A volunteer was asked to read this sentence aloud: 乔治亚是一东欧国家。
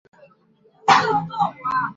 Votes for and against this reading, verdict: 0, 2, rejected